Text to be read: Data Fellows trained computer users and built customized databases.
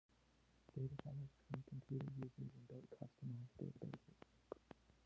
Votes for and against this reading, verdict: 0, 2, rejected